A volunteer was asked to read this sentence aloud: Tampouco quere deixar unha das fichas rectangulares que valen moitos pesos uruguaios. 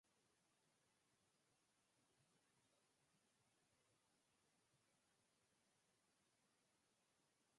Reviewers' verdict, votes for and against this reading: rejected, 0, 4